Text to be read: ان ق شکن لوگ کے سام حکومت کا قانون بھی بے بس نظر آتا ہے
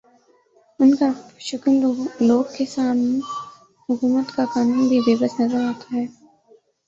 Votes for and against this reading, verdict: 2, 3, rejected